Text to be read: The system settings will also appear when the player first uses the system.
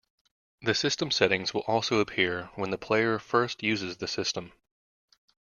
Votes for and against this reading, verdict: 2, 0, accepted